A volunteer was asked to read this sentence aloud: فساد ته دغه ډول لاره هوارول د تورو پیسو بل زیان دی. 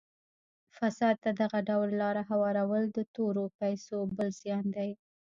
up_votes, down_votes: 1, 2